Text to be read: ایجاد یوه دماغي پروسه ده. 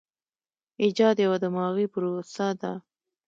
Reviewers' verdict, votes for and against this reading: accepted, 2, 0